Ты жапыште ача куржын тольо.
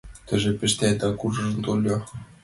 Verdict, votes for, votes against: rejected, 1, 2